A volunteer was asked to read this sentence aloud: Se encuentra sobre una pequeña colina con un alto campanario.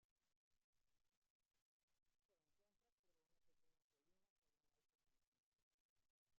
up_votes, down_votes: 0, 2